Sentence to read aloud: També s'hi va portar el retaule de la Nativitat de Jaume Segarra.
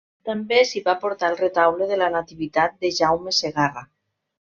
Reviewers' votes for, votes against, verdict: 3, 0, accepted